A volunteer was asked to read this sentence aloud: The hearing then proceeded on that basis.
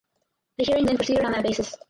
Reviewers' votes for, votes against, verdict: 2, 4, rejected